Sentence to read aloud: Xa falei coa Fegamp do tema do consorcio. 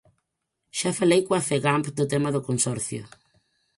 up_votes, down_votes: 4, 0